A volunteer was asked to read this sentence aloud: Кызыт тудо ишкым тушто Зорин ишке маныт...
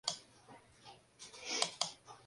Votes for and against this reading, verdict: 0, 2, rejected